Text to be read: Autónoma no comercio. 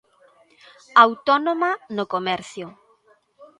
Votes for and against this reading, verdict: 2, 0, accepted